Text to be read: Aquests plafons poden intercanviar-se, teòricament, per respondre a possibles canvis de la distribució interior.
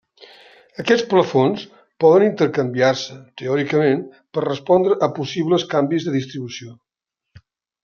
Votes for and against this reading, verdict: 0, 3, rejected